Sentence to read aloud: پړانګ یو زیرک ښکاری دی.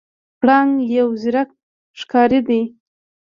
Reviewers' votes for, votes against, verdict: 2, 1, accepted